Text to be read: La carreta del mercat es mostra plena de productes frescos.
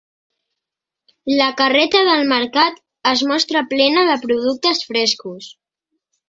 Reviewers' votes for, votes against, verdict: 2, 0, accepted